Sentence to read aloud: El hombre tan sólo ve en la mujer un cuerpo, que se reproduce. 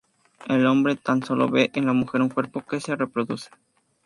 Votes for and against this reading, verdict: 2, 0, accepted